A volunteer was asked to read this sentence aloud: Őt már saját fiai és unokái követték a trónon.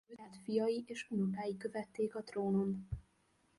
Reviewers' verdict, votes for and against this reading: rejected, 0, 2